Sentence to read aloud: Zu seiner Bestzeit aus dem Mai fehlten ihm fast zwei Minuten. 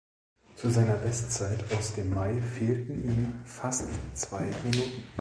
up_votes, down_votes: 1, 2